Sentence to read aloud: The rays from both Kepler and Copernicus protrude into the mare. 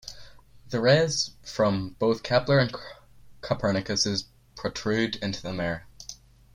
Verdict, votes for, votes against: rejected, 2, 3